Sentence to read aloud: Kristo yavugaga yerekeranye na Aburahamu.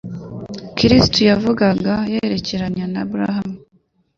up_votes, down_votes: 2, 0